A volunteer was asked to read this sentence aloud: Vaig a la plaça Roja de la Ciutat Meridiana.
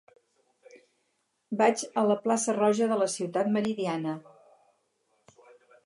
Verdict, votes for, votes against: accepted, 6, 0